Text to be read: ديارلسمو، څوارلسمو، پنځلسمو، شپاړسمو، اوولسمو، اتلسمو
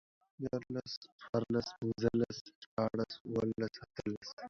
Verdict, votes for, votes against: rejected, 0, 4